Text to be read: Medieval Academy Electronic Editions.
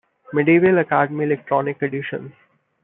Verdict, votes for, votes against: accepted, 2, 0